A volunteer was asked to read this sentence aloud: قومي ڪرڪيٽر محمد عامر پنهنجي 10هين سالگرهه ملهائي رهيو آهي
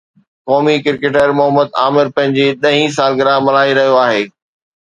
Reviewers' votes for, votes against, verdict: 0, 2, rejected